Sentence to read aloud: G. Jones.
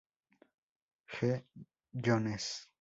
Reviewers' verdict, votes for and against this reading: rejected, 0, 2